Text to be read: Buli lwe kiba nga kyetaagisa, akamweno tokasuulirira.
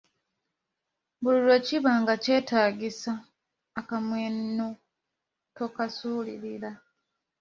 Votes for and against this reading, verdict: 1, 2, rejected